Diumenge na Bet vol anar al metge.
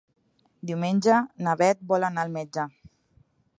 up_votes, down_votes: 2, 0